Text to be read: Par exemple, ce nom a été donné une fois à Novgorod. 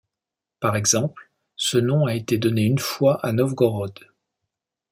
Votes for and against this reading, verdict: 2, 0, accepted